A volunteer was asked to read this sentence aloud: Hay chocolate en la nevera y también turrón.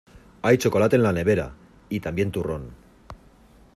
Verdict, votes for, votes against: accepted, 2, 0